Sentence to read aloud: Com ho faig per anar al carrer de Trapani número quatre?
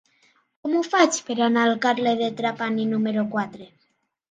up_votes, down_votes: 1, 2